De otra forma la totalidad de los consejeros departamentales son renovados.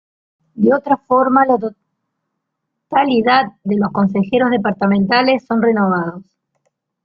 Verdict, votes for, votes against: rejected, 1, 2